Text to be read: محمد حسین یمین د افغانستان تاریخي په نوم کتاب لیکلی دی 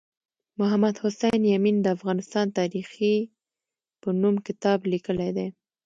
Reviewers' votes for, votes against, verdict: 2, 0, accepted